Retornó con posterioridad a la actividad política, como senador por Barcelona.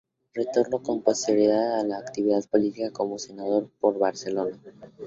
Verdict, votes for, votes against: rejected, 2, 2